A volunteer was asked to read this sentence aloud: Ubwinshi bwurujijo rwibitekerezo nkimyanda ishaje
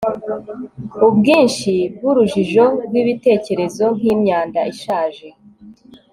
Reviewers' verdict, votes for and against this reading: accepted, 2, 0